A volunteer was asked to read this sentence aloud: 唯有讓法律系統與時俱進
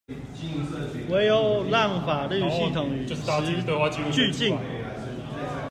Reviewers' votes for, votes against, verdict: 0, 2, rejected